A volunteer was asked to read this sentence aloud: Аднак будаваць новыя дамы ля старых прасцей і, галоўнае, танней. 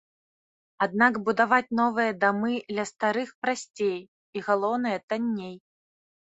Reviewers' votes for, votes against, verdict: 2, 0, accepted